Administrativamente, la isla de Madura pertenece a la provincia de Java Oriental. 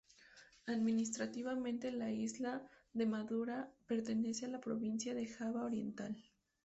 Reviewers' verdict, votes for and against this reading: rejected, 0, 2